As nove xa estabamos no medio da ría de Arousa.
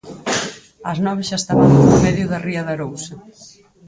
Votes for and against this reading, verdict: 2, 4, rejected